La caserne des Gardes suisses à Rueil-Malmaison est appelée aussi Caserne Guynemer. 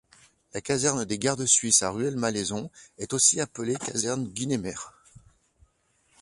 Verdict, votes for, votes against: rejected, 1, 2